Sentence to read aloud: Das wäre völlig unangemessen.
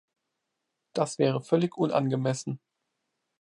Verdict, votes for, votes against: accepted, 2, 0